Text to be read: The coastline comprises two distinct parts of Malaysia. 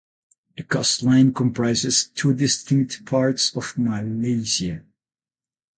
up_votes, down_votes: 0, 8